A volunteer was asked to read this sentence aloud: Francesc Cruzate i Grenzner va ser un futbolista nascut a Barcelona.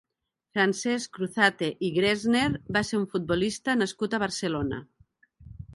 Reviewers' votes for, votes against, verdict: 0, 2, rejected